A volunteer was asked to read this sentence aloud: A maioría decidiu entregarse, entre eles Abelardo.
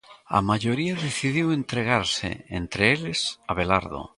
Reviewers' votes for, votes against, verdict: 1, 2, rejected